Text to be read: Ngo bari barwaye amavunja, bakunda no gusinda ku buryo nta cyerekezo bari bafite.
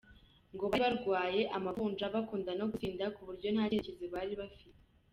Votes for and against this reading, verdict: 2, 0, accepted